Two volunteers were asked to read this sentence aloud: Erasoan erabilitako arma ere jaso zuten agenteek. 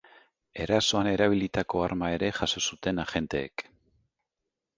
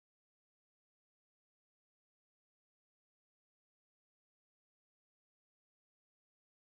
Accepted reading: first